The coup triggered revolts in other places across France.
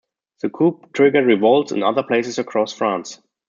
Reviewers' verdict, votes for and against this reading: rejected, 1, 2